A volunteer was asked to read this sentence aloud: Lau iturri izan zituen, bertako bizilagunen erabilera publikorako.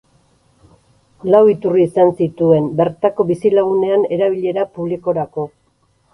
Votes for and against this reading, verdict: 2, 4, rejected